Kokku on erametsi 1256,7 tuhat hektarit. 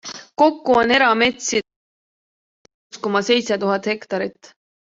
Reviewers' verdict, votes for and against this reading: rejected, 0, 2